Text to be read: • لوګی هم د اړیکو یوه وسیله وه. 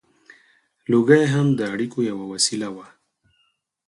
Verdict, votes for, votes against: accepted, 4, 0